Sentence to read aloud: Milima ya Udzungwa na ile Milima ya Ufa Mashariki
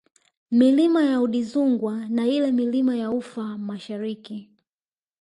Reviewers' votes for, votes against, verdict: 1, 2, rejected